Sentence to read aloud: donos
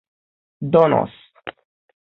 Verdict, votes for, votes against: accepted, 3, 0